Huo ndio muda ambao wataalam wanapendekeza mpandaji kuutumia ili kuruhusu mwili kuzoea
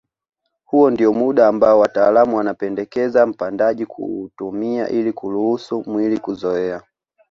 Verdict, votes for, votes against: accepted, 2, 0